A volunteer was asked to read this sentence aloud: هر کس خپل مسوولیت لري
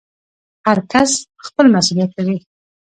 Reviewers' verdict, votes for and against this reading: rejected, 0, 2